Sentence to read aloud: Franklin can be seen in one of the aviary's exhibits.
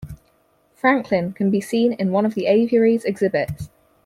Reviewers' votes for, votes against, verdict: 4, 0, accepted